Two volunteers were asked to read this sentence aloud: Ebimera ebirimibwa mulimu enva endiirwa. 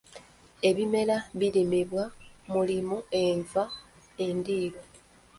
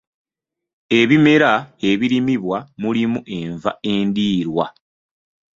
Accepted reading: second